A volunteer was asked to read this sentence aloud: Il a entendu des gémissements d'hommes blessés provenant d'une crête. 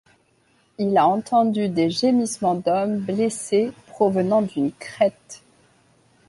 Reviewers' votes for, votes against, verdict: 2, 0, accepted